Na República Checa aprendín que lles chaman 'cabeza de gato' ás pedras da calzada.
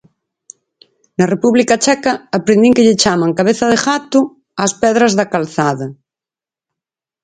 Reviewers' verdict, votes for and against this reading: rejected, 2, 2